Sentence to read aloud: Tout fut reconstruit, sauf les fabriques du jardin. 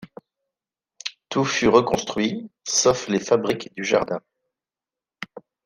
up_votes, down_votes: 2, 0